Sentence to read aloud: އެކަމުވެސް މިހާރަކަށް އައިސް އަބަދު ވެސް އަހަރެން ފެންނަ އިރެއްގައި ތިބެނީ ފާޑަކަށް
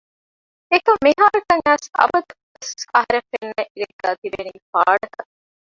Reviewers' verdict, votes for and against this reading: rejected, 0, 2